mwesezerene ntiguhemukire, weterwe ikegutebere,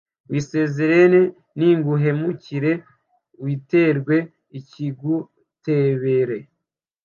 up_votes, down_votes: 1, 2